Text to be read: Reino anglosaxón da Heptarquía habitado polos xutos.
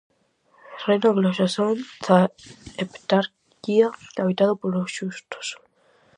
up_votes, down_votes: 0, 4